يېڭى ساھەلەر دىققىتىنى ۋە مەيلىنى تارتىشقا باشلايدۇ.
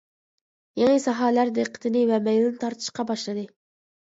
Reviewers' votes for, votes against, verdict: 0, 2, rejected